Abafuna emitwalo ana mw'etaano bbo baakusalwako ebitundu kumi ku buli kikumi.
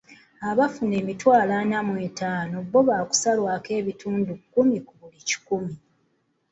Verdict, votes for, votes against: accepted, 2, 0